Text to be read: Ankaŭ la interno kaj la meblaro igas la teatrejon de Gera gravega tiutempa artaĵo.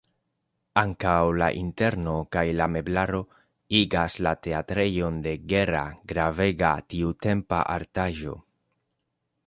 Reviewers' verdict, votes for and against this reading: accepted, 2, 0